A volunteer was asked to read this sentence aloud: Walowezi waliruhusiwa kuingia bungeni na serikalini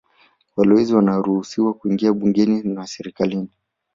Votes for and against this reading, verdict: 2, 1, accepted